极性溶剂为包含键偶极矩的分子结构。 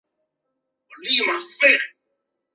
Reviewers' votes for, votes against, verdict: 2, 0, accepted